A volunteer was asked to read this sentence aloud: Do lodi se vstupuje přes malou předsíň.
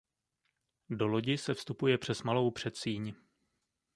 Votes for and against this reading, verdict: 2, 0, accepted